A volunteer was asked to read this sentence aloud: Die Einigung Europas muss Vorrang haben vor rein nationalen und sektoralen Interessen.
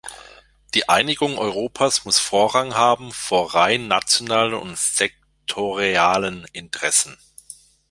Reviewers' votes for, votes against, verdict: 0, 2, rejected